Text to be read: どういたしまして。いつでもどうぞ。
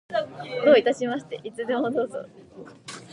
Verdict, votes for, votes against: rejected, 1, 2